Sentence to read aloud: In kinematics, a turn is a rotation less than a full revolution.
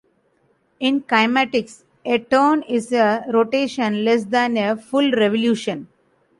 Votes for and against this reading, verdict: 2, 0, accepted